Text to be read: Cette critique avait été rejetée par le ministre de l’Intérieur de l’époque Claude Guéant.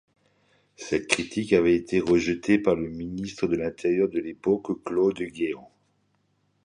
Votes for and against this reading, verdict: 2, 0, accepted